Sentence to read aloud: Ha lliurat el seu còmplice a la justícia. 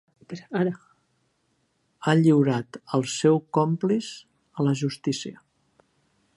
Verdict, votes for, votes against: rejected, 0, 3